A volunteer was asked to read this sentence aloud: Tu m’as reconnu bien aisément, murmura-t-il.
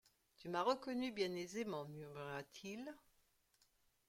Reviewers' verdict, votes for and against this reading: accepted, 2, 0